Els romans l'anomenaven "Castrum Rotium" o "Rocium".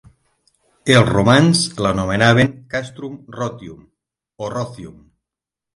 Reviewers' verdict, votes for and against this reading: accepted, 9, 0